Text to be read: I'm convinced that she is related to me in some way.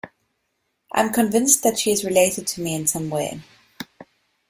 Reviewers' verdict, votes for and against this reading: accepted, 2, 0